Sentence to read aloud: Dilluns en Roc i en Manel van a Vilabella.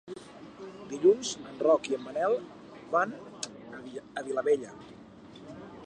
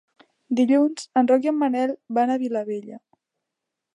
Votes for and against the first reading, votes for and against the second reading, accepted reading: 0, 2, 3, 0, second